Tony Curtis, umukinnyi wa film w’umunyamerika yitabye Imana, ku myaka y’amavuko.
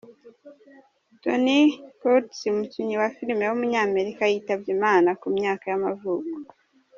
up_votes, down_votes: 2, 1